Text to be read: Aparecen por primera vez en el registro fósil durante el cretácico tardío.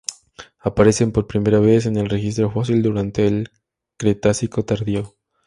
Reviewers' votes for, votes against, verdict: 2, 0, accepted